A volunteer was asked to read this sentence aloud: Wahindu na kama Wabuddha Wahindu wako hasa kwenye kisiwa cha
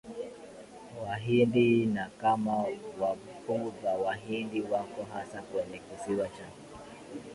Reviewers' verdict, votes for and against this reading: rejected, 3, 4